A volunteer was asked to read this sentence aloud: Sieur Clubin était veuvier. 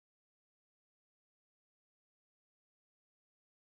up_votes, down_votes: 0, 2